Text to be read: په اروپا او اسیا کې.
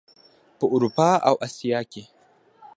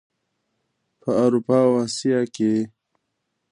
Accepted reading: second